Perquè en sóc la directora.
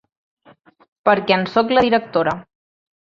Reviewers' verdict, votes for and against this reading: rejected, 1, 2